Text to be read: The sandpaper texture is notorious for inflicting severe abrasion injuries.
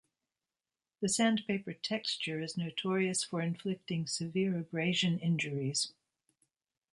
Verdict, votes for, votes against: accepted, 2, 0